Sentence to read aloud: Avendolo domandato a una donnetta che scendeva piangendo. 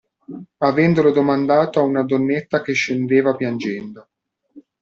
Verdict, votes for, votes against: accepted, 2, 0